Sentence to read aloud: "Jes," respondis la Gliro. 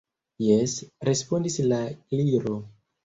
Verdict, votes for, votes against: accepted, 2, 0